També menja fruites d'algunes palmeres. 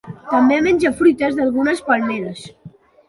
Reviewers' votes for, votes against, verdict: 2, 0, accepted